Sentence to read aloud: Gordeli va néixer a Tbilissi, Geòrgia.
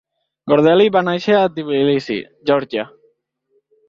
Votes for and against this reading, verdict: 1, 2, rejected